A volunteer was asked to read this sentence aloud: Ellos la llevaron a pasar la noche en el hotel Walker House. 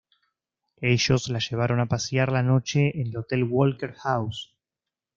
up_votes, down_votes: 0, 3